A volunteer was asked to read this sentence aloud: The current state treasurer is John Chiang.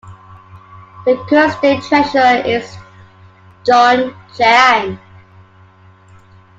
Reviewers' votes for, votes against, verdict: 2, 0, accepted